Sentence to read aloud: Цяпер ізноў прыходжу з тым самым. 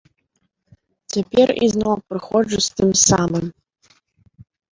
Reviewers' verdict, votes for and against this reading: accepted, 3, 0